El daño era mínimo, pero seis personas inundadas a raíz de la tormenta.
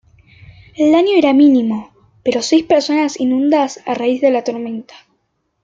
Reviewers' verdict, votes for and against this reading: rejected, 0, 2